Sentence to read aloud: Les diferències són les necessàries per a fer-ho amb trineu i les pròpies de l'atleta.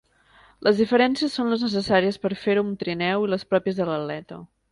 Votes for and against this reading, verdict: 1, 2, rejected